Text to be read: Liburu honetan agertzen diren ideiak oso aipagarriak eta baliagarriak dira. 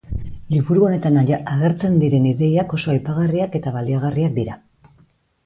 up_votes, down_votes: 0, 2